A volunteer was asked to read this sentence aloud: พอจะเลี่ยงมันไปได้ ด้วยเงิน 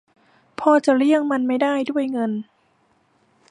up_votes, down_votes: 0, 2